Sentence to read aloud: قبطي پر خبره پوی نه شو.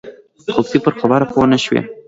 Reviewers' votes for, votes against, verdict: 1, 2, rejected